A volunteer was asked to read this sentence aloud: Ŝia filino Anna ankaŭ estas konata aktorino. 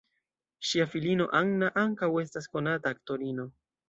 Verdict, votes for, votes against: accepted, 2, 0